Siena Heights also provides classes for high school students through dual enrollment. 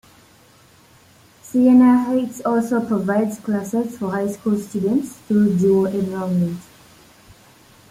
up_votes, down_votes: 2, 1